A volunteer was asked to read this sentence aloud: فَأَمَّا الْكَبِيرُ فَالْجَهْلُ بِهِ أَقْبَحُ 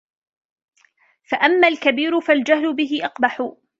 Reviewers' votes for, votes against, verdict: 2, 0, accepted